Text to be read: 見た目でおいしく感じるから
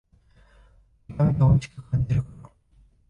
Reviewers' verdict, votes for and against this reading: rejected, 0, 2